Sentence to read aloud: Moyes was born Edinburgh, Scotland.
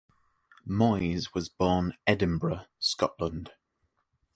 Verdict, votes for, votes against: accepted, 2, 0